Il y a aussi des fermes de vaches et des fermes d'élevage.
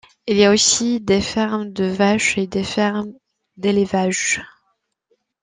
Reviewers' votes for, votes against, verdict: 2, 0, accepted